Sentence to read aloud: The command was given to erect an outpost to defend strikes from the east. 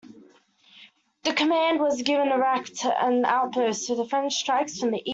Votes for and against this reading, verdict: 0, 2, rejected